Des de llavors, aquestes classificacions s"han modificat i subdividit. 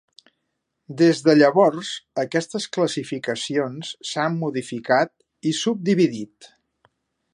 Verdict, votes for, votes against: accepted, 3, 0